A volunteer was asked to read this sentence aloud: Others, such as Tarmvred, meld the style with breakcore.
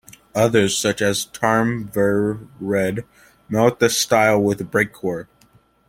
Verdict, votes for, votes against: rejected, 0, 2